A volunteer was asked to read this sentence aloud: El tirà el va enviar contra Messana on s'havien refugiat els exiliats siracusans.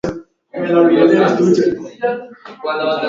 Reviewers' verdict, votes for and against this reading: rejected, 1, 2